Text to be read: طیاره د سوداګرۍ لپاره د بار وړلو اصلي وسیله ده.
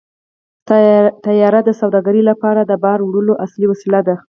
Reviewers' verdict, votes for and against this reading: accepted, 4, 0